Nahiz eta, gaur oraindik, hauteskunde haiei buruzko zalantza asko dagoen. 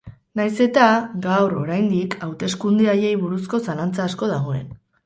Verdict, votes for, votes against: accepted, 2, 0